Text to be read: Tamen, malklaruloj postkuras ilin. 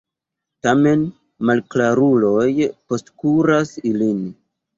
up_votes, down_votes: 2, 1